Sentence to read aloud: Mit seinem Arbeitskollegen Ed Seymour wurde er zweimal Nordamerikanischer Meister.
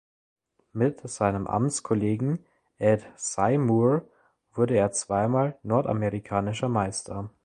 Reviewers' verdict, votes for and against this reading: rejected, 1, 3